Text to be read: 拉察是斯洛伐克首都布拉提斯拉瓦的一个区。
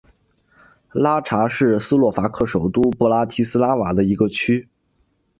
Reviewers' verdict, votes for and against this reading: accepted, 2, 0